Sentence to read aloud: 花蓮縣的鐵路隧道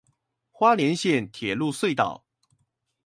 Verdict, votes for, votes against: rejected, 0, 2